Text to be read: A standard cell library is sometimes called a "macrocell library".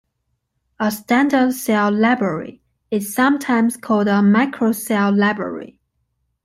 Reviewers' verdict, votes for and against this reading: rejected, 1, 2